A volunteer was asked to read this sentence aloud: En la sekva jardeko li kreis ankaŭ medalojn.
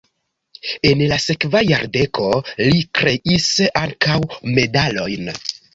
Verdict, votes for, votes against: accepted, 2, 0